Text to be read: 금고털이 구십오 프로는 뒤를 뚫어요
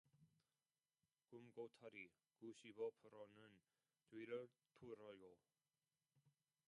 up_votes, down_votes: 0, 2